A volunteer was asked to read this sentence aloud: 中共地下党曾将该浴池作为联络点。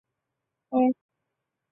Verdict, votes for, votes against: rejected, 0, 2